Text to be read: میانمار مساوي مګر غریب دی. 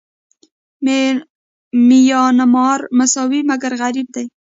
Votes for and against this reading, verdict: 1, 2, rejected